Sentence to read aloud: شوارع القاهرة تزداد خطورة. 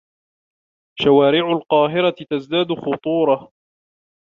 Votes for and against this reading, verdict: 2, 0, accepted